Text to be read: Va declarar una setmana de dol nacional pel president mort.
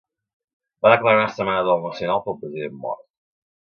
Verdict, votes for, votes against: rejected, 0, 2